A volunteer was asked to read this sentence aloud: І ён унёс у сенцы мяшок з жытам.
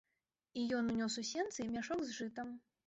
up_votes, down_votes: 2, 0